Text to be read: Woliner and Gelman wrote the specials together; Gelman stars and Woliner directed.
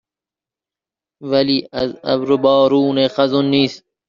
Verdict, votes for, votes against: rejected, 1, 2